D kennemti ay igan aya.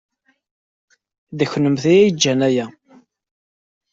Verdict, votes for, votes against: rejected, 0, 2